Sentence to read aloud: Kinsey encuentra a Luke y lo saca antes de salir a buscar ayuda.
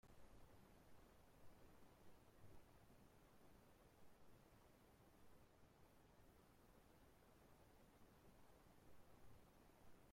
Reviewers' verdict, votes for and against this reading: rejected, 0, 4